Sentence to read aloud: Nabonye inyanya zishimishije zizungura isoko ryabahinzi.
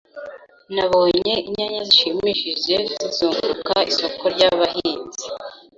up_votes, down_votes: 1, 2